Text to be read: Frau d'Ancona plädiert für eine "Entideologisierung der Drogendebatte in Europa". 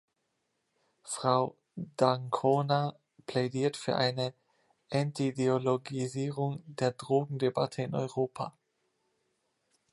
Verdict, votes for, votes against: rejected, 1, 2